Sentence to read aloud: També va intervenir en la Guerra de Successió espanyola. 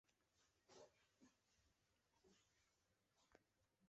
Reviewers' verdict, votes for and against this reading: rejected, 2, 3